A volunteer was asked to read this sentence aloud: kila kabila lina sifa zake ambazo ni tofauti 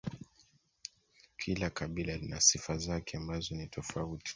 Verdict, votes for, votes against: accepted, 2, 0